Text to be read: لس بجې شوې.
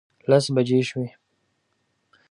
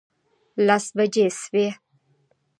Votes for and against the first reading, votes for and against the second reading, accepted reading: 2, 0, 1, 2, first